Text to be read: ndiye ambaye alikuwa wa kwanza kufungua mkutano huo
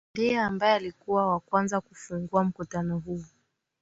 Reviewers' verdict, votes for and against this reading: accepted, 10, 2